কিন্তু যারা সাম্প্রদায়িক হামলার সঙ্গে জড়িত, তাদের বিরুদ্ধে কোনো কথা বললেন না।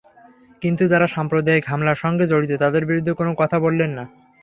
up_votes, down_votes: 3, 0